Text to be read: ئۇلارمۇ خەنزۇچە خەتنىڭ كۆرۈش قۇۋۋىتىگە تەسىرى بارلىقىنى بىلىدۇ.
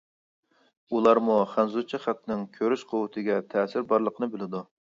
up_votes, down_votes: 2, 0